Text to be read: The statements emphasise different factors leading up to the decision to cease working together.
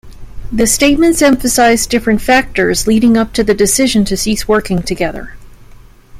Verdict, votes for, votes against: accepted, 2, 0